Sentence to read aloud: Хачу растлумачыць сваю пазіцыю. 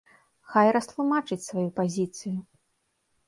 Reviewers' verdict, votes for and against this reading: rejected, 1, 3